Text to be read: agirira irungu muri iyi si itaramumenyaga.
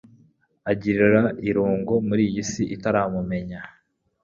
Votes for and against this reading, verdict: 1, 2, rejected